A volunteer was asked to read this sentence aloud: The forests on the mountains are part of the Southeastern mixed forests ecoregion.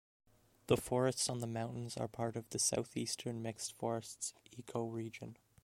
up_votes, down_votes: 2, 0